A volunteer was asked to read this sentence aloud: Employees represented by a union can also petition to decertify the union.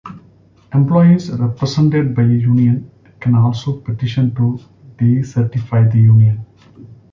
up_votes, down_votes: 2, 0